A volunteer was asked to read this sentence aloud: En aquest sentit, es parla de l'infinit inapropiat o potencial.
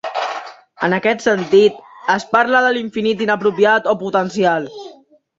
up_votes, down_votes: 1, 2